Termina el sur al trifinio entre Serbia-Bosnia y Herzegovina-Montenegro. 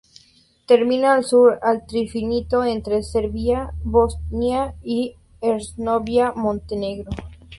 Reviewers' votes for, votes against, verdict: 0, 8, rejected